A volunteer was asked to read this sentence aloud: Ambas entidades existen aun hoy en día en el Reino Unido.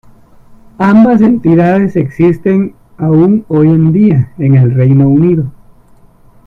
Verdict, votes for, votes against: rejected, 1, 2